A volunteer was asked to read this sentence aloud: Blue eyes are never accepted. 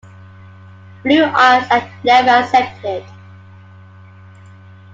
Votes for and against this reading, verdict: 0, 2, rejected